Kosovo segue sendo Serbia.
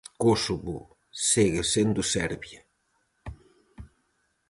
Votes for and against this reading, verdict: 2, 2, rejected